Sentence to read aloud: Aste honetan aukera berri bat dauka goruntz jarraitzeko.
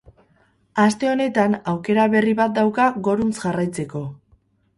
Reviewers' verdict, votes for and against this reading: accepted, 4, 0